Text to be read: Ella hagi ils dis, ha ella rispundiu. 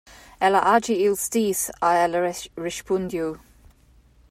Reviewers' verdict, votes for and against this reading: rejected, 0, 2